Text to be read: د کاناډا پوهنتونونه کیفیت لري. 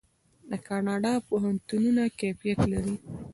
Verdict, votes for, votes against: accepted, 2, 0